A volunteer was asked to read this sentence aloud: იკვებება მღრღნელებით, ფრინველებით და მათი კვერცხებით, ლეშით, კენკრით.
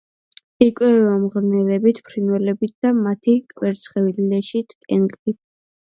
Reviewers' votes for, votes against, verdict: 2, 0, accepted